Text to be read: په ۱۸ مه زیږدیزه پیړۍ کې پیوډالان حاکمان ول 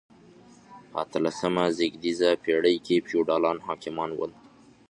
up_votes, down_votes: 0, 2